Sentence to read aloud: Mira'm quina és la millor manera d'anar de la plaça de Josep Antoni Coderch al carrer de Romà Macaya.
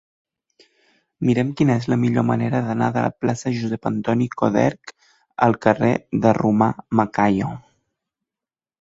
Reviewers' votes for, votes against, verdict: 1, 2, rejected